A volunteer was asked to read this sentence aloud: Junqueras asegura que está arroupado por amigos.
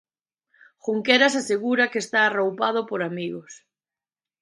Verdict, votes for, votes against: rejected, 0, 2